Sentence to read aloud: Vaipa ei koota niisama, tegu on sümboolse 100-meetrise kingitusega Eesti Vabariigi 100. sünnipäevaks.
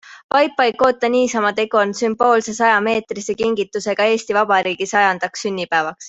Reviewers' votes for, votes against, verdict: 0, 2, rejected